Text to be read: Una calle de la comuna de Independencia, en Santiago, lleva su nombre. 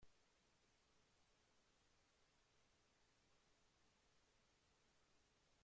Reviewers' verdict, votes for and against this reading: rejected, 0, 2